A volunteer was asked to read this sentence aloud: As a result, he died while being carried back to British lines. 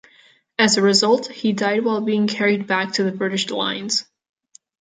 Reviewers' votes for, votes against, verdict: 1, 3, rejected